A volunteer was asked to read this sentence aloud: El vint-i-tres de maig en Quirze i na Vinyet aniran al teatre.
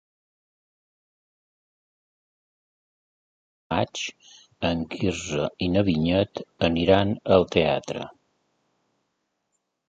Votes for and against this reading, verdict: 0, 2, rejected